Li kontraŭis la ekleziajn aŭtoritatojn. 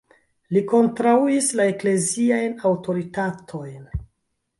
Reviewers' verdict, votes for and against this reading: rejected, 0, 2